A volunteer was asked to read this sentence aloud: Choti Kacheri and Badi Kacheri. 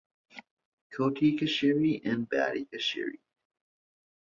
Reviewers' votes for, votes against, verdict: 2, 0, accepted